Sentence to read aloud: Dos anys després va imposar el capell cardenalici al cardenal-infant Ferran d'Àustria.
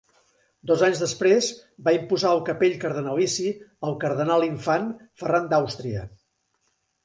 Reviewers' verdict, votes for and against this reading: accepted, 2, 0